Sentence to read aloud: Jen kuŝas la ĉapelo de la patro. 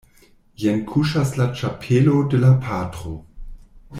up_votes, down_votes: 2, 0